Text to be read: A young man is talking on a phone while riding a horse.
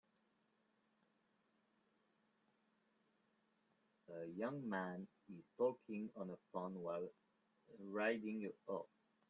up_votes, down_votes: 2, 0